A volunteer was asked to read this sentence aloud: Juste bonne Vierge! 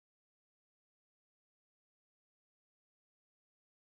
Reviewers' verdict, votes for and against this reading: rejected, 0, 2